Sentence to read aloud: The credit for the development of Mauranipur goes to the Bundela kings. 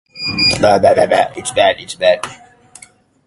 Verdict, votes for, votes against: rejected, 0, 2